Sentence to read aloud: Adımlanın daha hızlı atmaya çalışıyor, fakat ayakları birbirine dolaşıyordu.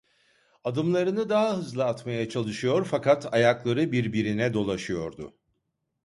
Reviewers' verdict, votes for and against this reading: rejected, 1, 2